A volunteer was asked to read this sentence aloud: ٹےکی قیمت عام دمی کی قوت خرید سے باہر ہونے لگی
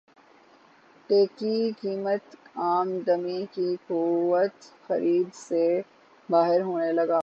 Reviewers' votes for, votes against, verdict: 3, 9, rejected